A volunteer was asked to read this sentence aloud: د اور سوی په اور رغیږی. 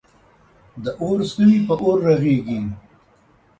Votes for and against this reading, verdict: 2, 0, accepted